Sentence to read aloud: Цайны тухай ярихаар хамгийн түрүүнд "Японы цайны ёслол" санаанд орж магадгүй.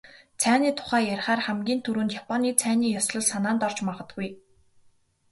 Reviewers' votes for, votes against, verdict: 2, 0, accepted